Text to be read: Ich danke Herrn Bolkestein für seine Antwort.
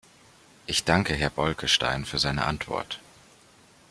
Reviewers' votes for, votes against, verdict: 1, 2, rejected